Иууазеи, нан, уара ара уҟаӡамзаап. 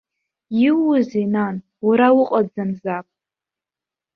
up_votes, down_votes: 1, 2